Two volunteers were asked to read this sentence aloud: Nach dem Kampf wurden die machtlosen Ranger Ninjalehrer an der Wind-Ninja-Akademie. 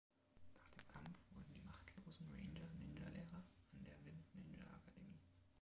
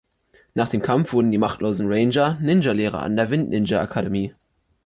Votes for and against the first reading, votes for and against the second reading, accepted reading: 0, 2, 3, 0, second